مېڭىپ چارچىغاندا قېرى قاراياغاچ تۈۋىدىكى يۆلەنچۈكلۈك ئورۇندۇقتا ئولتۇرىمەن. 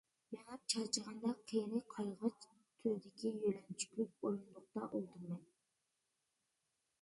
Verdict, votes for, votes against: rejected, 0, 2